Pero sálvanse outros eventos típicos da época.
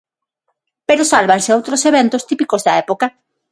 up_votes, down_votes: 6, 0